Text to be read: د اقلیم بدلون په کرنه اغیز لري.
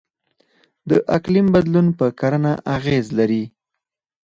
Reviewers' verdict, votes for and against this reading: rejected, 2, 4